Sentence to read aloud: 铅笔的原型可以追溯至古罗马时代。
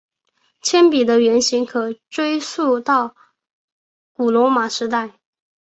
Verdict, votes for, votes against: rejected, 1, 2